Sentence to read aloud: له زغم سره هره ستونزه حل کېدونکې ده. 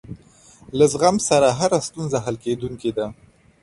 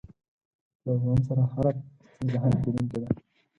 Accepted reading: first